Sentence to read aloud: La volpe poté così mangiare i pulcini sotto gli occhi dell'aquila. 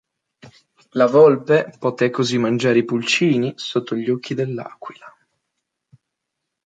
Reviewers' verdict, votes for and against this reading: accepted, 2, 0